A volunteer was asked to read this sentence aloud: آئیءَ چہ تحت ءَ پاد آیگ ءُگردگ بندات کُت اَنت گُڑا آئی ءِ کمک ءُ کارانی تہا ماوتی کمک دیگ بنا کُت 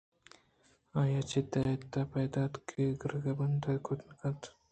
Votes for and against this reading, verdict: 1, 2, rejected